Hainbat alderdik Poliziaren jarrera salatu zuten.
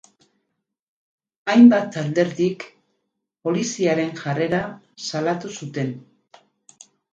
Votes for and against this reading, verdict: 4, 0, accepted